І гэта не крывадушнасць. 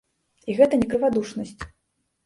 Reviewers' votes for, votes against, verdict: 1, 2, rejected